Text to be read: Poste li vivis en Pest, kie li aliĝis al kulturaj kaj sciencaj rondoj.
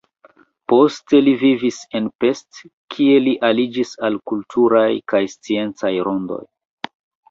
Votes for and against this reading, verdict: 1, 2, rejected